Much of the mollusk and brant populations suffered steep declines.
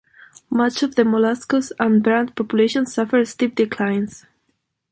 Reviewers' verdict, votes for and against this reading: accepted, 2, 1